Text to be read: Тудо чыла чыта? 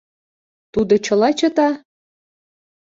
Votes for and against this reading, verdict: 2, 0, accepted